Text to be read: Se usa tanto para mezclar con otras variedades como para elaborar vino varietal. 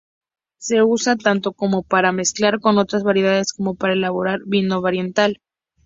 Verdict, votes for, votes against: rejected, 0, 2